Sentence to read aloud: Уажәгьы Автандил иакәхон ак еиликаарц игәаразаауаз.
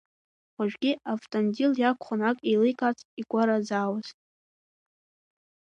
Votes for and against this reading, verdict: 2, 1, accepted